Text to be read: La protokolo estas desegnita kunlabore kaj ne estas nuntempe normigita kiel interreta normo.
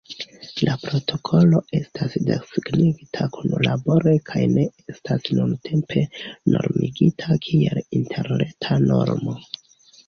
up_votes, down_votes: 2, 0